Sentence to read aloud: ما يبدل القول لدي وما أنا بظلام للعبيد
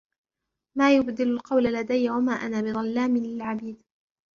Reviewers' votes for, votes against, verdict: 2, 0, accepted